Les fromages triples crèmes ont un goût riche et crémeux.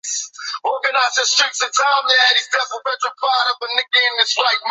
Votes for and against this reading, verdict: 0, 2, rejected